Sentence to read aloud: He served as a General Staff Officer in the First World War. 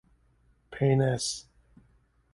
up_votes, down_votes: 0, 2